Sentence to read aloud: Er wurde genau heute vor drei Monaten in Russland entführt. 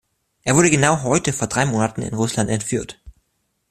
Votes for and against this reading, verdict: 2, 0, accepted